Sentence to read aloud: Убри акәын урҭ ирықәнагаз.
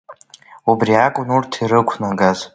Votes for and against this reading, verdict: 2, 1, accepted